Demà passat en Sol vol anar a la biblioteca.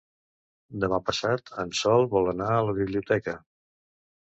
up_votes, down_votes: 2, 0